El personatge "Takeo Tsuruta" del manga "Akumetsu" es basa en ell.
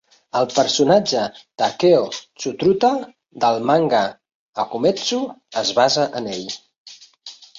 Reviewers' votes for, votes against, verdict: 0, 2, rejected